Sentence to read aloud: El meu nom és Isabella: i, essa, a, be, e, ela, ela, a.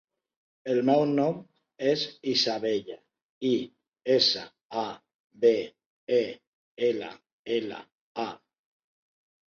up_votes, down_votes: 3, 0